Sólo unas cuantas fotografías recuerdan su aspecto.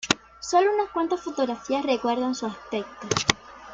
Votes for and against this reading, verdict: 2, 0, accepted